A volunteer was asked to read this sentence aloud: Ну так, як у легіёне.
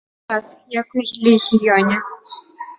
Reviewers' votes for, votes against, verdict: 1, 2, rejected